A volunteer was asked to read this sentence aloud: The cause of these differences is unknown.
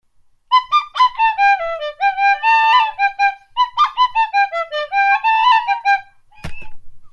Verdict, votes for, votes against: rejected, 0, 2